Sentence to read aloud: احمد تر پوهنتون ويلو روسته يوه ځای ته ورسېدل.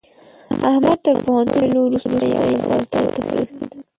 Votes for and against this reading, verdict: 0, 2, rejected